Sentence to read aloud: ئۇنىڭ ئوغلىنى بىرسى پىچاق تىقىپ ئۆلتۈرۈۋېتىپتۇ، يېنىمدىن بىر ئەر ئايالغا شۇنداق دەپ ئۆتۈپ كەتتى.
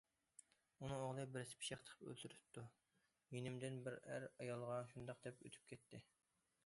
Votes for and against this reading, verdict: 0, 2, rejected